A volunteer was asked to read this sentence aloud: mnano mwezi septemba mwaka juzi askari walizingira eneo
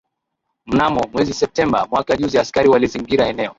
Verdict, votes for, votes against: rejected, 0, 2